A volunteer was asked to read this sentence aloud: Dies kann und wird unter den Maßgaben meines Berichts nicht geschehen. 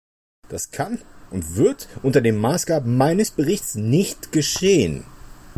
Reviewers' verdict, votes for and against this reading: rejected, 0, 2